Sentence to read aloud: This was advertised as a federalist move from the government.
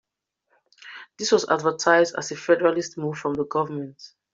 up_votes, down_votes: 2, 0